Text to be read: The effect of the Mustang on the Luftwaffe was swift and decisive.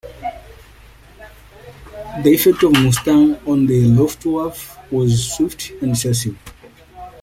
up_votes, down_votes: 1, 2